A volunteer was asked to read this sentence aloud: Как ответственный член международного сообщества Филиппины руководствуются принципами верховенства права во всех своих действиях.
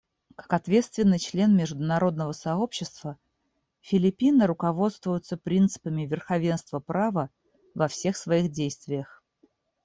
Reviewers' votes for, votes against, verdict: 2, 1, accepted